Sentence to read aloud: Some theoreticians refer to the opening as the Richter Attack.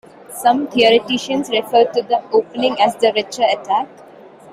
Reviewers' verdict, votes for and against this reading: rejected, 1, 2